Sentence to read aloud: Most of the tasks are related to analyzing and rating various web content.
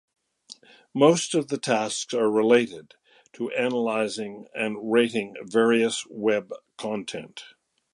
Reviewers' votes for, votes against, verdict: 2, 0, accepted